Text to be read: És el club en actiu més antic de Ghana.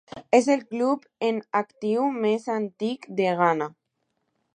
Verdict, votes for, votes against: accepted, 2, 0